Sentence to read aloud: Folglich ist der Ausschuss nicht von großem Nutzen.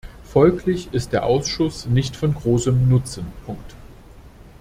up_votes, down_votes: 0, 2